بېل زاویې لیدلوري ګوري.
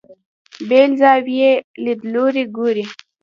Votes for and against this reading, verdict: 1, 2, rejected